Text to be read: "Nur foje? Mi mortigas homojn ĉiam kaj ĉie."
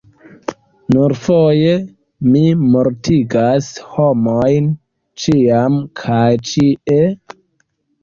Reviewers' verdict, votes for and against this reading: accepted, 3, 2